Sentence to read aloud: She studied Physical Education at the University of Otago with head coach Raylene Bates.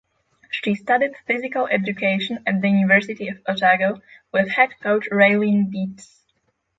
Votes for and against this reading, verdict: 0, 6, rejected